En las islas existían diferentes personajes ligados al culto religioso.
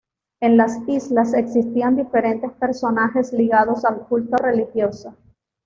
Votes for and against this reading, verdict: 2, 0, accepted